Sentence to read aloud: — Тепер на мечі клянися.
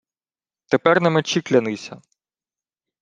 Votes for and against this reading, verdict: 2, 0, accepted